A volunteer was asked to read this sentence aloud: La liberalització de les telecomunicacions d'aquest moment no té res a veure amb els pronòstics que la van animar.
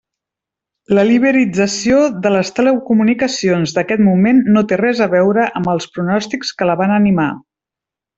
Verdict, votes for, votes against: rejected, 1, 2